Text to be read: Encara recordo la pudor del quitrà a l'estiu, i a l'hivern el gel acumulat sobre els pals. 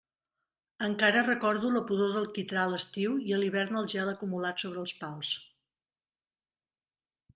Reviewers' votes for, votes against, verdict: 2, 0, accepted